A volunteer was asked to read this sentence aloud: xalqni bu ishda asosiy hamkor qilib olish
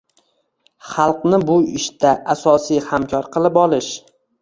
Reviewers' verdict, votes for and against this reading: accepted, 2, 1